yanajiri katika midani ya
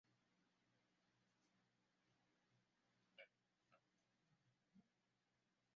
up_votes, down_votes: 0, 2